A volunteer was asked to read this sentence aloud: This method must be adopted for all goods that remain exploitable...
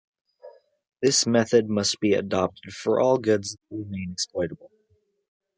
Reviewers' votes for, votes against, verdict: 0, 2, rejected